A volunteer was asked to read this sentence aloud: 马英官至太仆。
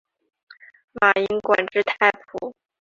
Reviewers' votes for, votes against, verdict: 4, 0, accepted